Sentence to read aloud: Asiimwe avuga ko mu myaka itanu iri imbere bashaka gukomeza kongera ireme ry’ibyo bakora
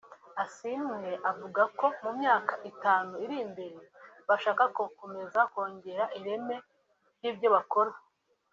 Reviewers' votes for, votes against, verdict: 3, 0, accepted